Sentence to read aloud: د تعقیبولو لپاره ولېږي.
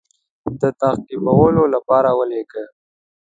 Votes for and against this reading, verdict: 2, 0, accepted